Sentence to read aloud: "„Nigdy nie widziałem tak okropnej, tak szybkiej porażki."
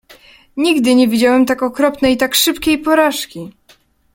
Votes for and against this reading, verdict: 2, 0, accepted